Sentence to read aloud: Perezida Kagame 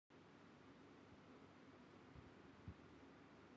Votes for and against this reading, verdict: 1, 2, rejected